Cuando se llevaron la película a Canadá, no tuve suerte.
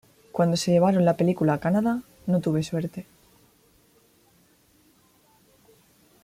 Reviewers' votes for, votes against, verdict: 2, 0, accepted